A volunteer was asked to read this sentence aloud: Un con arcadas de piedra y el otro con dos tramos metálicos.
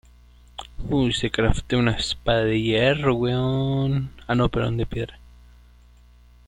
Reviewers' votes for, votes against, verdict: 0, 2, rejected